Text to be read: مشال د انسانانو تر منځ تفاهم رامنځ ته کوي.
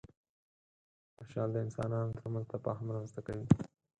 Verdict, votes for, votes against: rejected, 2, 4